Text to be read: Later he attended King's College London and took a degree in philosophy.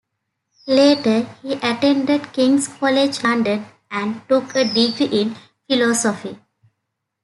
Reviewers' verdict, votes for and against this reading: rejected, 0, 2